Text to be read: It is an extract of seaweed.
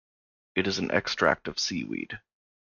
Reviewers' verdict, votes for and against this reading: accepted, 2, 0